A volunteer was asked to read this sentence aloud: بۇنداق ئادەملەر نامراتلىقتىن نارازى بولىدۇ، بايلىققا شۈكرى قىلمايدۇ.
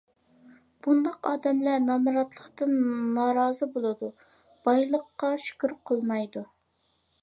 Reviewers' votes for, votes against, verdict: 1, 2, rejected